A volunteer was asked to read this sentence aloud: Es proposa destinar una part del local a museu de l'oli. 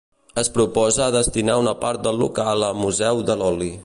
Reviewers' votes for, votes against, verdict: 2, 0, accepted